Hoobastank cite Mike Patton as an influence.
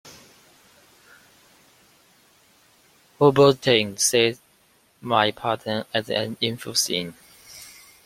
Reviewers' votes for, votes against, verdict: 0, 2, rejected